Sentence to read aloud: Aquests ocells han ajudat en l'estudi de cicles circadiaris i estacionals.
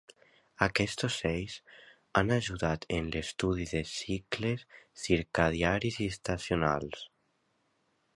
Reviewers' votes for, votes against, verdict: 2, 0, accepted